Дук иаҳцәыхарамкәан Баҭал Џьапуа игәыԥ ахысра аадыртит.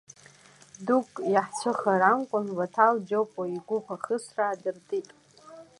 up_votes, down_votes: 1, 2